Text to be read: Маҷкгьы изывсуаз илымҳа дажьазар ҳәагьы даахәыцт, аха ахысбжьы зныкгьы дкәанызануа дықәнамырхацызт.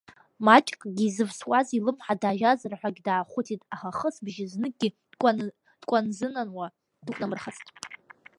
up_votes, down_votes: 0, 2